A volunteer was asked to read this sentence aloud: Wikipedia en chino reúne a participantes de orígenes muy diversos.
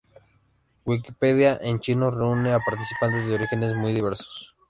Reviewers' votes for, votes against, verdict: 2, 0, accepted